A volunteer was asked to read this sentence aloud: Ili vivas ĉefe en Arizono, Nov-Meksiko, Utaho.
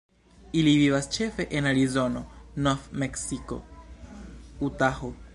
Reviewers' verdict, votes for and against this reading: accepted, 2, 0